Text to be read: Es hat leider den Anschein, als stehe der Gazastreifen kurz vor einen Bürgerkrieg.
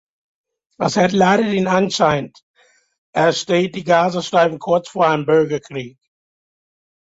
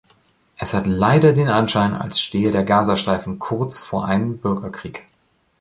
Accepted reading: second